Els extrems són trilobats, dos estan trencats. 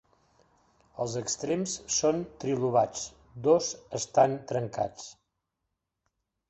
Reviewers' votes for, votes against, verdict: 3, 0, accepted